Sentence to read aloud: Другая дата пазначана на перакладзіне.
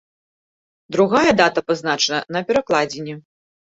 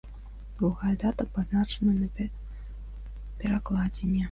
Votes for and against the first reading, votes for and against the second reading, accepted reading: 2, 1, 1, 2, first